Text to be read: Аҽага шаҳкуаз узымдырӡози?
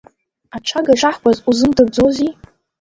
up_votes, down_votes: 1, 2